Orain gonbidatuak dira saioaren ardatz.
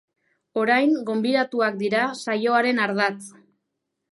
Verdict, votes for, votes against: accepted, 2, 0